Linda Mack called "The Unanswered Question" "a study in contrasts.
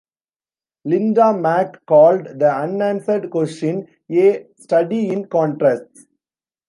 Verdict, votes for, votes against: rejected, 0, 2